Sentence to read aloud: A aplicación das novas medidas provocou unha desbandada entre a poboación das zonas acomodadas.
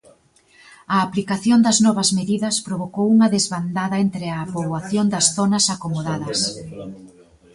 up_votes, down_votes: 0, 2